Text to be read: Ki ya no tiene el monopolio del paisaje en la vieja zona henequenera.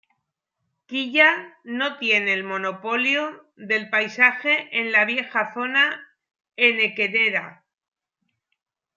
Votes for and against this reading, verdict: 2, 1, accepted